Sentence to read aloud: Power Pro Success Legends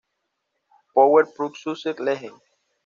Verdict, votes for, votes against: accepted, 2, 0